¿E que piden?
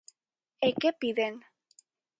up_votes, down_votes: 46, 0